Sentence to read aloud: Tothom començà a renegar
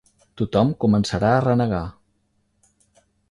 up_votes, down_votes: 0, 3